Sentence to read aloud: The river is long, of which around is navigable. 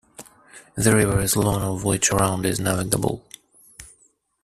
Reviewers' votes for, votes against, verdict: 1, 2, rejected